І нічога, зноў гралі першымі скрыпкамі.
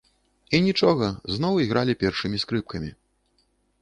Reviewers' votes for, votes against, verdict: 1, 2, rejected